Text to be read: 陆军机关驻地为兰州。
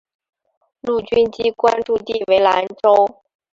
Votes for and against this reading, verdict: 4, 0, accepted